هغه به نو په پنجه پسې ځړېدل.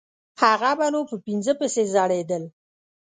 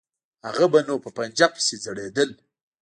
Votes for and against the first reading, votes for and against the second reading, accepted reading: 1, 2, 2, 0, second